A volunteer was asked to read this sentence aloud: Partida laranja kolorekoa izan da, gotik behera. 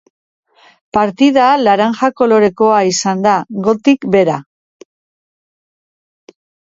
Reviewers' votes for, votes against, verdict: 3, 1, accepted